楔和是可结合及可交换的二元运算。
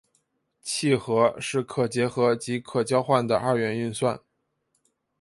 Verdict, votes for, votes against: accepted, 2, 1